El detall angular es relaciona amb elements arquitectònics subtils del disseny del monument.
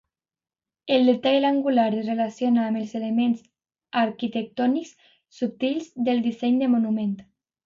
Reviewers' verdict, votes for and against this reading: rejected, 0, 2